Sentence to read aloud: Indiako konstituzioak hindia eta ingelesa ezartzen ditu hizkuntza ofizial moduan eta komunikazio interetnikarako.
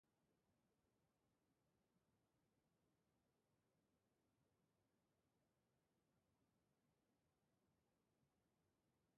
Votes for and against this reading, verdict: 0, 2, rejected